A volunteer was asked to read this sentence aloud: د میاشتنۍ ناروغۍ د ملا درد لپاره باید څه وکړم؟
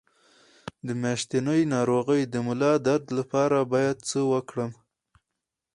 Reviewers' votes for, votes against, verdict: 4, 2, accepted